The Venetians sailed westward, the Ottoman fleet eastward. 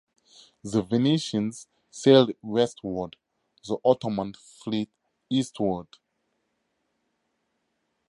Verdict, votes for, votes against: accepted, 2, 0